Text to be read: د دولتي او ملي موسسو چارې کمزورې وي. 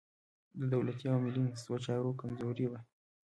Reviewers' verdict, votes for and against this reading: rejected, 1, 2